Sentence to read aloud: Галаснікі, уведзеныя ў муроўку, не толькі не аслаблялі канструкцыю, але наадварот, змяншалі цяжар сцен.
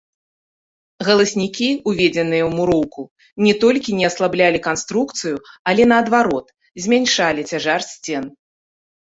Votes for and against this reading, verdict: 2, 0, accepted